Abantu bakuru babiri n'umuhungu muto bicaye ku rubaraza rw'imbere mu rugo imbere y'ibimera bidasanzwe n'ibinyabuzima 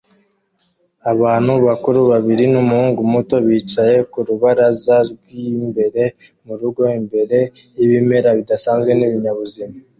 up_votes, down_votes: 2, 0